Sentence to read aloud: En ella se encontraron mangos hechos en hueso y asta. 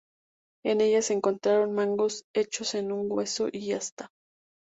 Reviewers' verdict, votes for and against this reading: accepted, 2, 0